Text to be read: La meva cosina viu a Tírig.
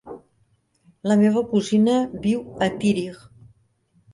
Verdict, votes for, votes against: rejected, 0, 2